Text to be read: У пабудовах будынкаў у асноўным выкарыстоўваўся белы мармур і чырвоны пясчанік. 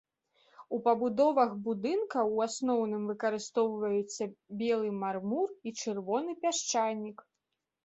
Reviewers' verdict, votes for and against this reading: rejected, 0, 2